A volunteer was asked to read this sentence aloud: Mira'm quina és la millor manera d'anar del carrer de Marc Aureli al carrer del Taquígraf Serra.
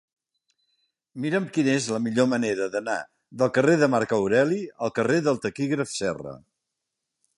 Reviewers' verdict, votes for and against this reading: accepted, 4, 0